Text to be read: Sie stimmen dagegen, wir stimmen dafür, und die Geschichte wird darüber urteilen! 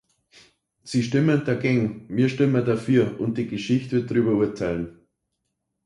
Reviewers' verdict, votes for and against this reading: rejected, 0, 2